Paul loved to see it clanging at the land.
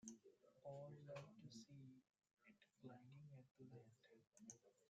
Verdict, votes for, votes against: rejected, 0, 2